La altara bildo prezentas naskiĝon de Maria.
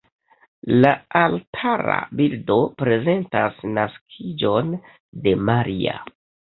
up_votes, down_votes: 2, 0